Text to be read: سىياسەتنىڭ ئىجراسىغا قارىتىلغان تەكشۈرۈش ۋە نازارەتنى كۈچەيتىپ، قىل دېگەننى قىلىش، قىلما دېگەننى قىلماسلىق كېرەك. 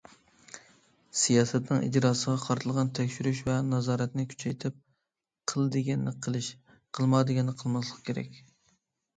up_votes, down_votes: 2, 0